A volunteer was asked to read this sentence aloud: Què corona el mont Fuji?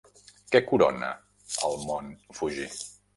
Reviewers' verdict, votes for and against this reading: accepted, 3, 0